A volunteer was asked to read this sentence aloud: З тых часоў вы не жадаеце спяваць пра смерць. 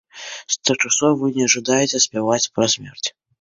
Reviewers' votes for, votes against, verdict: 2, 1, accepted